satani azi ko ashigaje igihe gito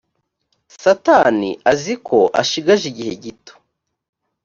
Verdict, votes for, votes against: accepted, 2, 0